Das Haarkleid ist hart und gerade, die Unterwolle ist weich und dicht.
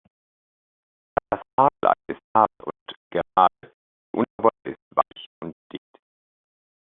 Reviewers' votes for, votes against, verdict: 0, 2, rejected